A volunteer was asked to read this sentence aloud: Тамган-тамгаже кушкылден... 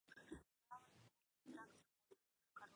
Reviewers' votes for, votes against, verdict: 1, 2, rejected